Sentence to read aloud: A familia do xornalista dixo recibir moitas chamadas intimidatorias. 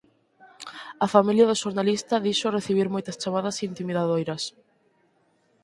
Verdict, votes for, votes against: rejected, 0, 6